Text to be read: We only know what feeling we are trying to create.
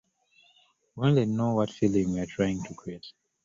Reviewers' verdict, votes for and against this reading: rejected, 1, 2